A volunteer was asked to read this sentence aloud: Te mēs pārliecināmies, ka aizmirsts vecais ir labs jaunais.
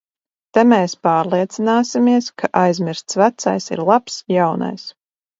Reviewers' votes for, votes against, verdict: 0, 2, rejected